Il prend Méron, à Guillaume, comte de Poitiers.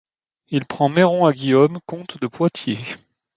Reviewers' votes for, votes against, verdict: 2, 0, accepted